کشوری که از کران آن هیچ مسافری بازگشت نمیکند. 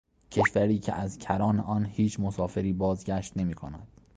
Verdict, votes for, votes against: rejected, 0, 2